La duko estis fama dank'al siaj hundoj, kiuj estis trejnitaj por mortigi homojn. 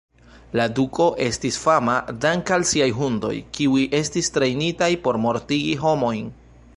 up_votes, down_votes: 2, 1